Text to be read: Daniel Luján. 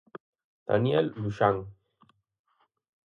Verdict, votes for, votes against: rejected, 0, 4